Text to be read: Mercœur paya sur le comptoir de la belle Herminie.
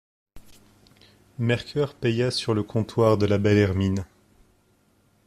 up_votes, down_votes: 0, 2